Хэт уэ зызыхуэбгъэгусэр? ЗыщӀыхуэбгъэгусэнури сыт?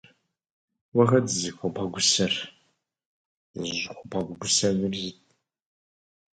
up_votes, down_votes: 2, 4